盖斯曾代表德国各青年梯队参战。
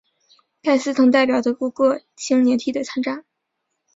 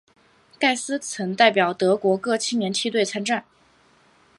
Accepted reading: second